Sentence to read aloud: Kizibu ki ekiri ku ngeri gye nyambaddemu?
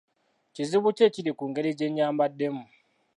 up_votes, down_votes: 2, 0